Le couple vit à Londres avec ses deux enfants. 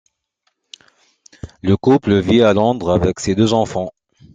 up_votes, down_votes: 2, 0